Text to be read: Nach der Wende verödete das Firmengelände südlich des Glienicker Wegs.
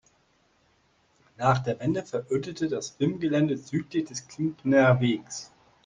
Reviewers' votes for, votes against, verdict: 1, 2, rejected